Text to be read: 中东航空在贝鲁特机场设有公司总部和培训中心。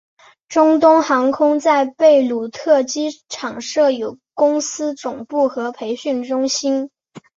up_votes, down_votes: 4, 0